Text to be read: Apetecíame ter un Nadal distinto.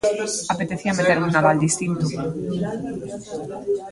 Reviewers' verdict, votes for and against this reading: rejected, 0, 2